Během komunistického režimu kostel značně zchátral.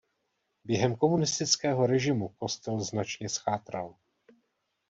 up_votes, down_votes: 2, 0